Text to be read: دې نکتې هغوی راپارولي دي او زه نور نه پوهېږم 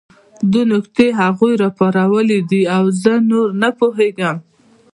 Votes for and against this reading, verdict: 2, 1, accepted